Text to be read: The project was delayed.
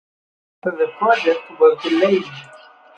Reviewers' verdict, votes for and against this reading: accepted, 2, 0